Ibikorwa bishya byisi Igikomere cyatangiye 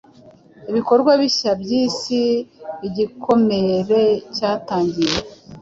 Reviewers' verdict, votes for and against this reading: accepted, 4, 0